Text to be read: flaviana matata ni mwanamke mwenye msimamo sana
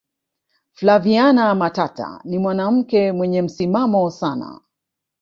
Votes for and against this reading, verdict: 1, 2, rejected